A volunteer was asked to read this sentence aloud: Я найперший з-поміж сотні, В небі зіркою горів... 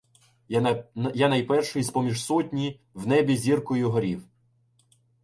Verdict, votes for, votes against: rejected, 0, 2